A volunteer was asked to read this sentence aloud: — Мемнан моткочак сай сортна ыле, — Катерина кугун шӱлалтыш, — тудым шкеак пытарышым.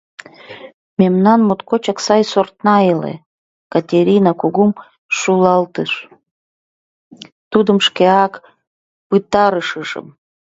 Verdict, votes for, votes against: rejected, 0, 2